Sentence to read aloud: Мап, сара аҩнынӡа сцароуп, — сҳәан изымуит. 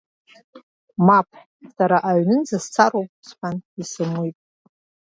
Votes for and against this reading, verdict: 2, 0, accepted